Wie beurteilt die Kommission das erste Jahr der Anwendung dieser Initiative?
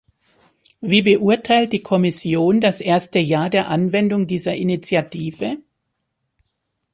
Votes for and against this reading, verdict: 3, 0, accepted